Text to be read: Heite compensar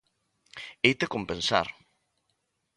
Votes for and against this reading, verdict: 2, 0, accepted